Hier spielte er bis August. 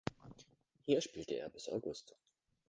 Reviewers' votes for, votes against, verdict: 1, 2, rejected